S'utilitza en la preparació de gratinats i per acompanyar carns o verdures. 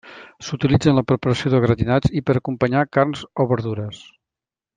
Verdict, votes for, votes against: accepted, 2, 0